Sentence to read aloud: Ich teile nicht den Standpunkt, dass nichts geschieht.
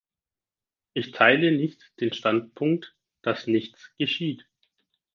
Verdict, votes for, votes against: accepted, 4, 0